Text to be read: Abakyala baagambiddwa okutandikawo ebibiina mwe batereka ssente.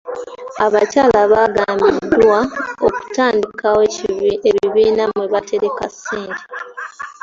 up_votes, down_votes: 2, 1